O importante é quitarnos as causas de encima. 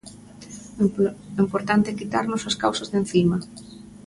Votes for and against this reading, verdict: 0, 2, rejected